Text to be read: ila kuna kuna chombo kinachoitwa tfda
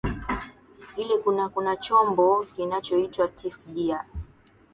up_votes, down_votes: 0, 2